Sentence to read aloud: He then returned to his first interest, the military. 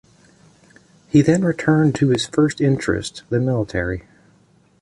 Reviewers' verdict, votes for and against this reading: rejected, 1, 2